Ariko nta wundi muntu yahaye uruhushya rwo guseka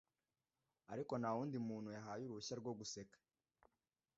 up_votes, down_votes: 2, 0